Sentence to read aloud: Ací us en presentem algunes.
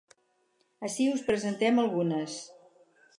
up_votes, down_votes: 0, 4